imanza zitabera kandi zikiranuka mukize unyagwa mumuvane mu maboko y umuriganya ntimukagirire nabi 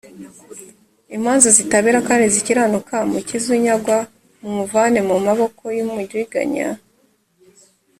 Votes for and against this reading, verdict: 0, 2, rejected